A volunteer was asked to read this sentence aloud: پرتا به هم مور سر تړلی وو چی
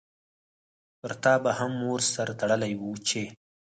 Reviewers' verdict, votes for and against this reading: rejected, 0, 4